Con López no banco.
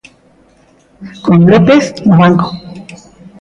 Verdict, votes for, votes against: accepted, 2, 0